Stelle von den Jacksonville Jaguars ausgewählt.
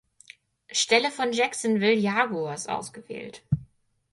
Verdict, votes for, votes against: rejected, 2, 4